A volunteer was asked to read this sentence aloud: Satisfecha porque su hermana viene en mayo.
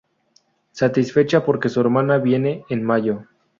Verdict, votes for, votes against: accepted, 2, 0